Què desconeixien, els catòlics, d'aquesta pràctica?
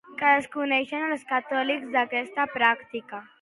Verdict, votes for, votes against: accepted, 2, 0